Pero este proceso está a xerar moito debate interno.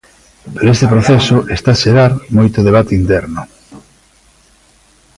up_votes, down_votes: 0, 2